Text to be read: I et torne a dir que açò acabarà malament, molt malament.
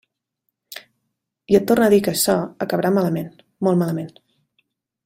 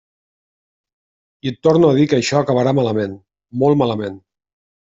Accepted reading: first